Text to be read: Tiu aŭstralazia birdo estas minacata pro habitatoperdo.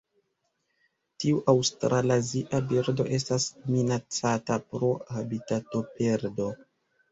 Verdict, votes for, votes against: accepted, 2, 1